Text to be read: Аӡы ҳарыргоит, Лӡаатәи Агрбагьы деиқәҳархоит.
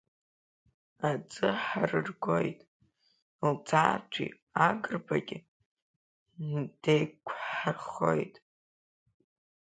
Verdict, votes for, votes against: rejected, 0, 2